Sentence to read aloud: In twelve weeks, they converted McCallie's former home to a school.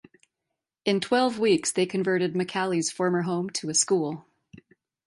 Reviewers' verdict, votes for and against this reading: accepted, 3, 0